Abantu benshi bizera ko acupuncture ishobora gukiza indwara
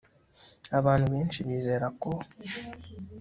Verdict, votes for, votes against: rejected, 0, 2